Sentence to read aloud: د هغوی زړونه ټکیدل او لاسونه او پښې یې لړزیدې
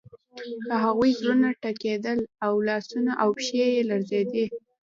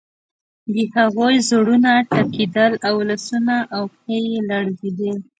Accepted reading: second